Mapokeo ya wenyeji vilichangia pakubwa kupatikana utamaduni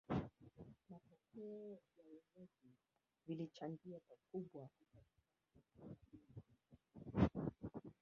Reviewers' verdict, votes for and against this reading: rejected, 0, 4